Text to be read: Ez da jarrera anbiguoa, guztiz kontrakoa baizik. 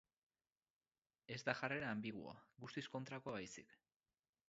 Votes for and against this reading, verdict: 6, 2, accepted